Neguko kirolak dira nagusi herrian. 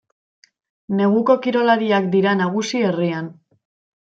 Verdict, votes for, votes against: rejected, 1, 2